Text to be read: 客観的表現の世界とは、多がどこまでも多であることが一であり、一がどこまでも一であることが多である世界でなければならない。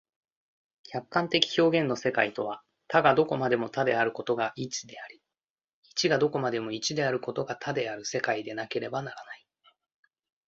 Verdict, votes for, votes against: accepted, 2, 0